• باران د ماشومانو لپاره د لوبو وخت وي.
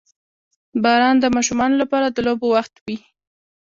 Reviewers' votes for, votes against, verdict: 2, 0, accepted